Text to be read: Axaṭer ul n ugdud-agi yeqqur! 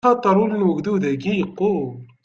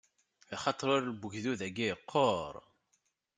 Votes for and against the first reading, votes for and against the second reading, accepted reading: 1, 2, 2, 0, second